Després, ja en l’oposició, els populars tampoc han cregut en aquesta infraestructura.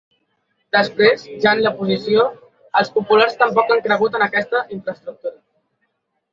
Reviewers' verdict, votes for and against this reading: rejected, 0, 2